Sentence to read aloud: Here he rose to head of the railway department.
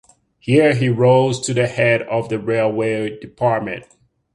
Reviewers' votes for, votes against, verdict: 1, 2, rejected